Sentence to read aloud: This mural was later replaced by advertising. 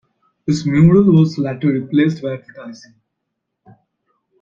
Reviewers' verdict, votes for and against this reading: accepted, 2, 0